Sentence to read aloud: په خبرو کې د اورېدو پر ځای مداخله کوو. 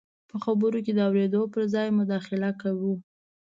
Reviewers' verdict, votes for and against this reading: accepted, 2, 0